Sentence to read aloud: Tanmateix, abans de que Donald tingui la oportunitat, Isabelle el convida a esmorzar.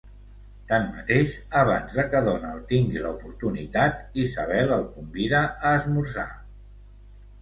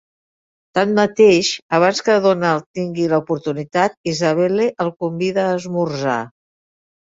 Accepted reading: first